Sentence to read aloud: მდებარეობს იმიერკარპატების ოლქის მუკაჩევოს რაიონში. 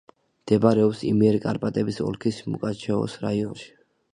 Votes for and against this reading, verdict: 2, 0, accepted